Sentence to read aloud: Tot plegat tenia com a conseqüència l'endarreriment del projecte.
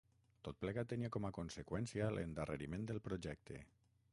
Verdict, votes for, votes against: rejected, 3, 6